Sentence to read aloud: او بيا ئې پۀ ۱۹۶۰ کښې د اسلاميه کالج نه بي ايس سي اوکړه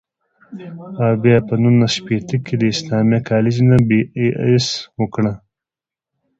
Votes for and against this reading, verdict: 0, 2, rejected